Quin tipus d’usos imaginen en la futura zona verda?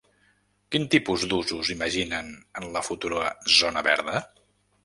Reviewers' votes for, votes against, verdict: 3, 0, accepted